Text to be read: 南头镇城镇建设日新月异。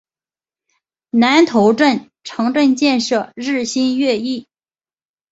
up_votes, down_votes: 4, 1